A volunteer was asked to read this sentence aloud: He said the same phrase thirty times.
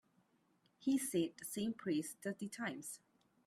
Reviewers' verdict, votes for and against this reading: rejected, 1, 2